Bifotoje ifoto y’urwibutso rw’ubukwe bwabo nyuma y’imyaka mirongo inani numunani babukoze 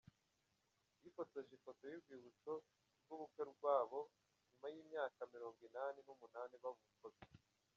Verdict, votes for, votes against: accepted, 2, 0